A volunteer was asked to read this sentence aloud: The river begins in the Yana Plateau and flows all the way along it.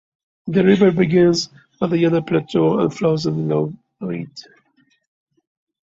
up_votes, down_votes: 0, 2